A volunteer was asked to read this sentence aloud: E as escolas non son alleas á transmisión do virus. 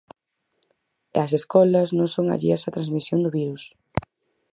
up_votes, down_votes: 4, 0